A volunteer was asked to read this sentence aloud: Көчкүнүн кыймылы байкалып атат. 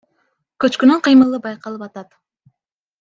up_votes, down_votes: 2, 0